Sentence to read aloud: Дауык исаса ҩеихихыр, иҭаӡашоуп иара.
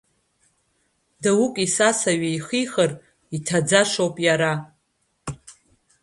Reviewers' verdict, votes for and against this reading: rejected, 0, 2